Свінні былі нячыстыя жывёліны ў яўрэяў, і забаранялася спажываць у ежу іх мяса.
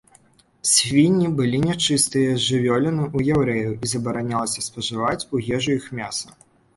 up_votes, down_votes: 2, 0